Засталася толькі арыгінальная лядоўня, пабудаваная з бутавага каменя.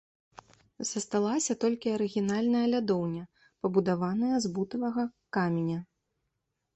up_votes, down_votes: 2, 0